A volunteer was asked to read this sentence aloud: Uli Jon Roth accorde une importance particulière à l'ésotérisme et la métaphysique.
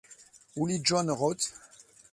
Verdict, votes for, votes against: rejected, 0, 2